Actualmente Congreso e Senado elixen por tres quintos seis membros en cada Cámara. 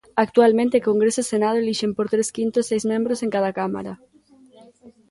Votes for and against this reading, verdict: 2, 0, accepted